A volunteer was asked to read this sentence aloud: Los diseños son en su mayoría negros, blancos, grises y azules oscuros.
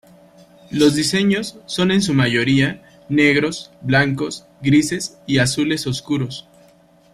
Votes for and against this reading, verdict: 2, 0, accepted